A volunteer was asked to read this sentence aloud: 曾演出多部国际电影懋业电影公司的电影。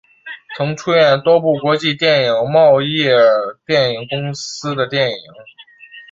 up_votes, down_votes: 3, 0